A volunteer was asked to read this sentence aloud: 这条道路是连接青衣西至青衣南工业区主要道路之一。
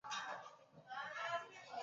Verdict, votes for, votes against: rejected, 0, 3